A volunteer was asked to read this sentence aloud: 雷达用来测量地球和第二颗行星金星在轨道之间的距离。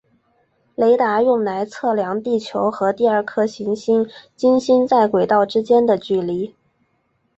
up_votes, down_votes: 3, 1